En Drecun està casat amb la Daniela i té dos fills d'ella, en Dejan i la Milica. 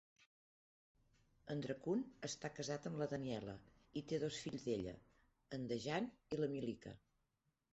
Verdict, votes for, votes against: accepted, 2, 1